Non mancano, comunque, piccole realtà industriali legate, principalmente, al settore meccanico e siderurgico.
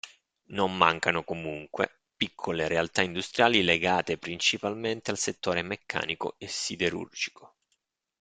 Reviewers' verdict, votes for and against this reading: accepted, 2, 0